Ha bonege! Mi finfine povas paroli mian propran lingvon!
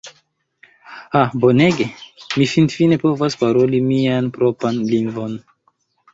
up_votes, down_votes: 2, 0